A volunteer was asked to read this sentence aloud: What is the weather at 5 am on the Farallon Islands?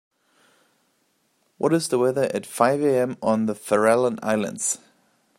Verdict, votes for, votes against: rejected, 0, 2